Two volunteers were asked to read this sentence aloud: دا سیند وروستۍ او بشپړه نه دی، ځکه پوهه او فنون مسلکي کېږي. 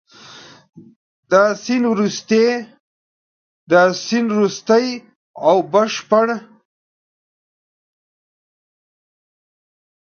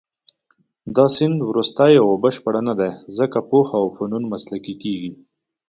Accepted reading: second